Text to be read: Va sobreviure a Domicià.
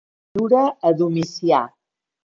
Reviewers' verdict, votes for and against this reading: rejected, 0, 2